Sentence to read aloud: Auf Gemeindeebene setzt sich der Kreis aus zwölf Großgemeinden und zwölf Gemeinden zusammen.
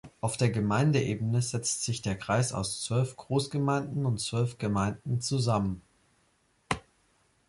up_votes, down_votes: 3, 2